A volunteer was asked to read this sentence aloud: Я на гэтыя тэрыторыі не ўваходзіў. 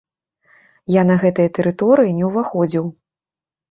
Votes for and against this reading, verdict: 2, 0, accepted